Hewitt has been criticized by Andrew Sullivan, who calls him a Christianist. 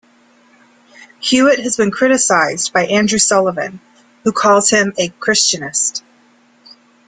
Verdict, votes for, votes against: accepted, 2, 1